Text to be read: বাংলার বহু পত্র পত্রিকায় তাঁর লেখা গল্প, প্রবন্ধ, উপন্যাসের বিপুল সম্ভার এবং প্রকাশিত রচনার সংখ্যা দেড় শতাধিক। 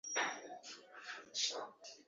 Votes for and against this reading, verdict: 1, 23, rejected